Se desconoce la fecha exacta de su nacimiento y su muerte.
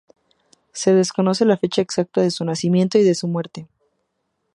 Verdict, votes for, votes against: rejected, 2, 2